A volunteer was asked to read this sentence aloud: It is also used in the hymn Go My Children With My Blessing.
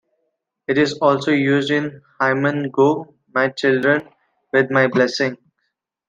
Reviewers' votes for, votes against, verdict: 1, 2, rejected